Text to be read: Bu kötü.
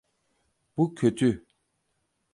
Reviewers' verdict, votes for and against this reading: accepted, 4, 0